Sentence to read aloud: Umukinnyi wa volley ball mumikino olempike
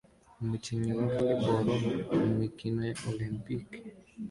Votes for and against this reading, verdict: 2, 0, accepted